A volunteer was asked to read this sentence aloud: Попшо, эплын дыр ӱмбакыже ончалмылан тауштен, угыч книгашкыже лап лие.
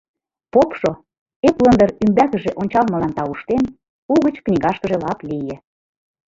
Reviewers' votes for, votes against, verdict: 2, 0, accepted